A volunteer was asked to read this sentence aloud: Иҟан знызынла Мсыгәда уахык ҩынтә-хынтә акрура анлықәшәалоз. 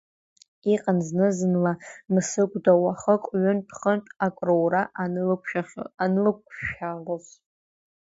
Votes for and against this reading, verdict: 0, 2, rejected